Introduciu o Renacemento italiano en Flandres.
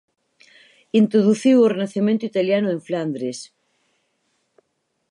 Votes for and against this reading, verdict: 2, 2, rejected